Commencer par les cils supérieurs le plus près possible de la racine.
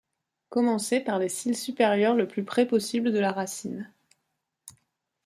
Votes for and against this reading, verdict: 2, 0, accepted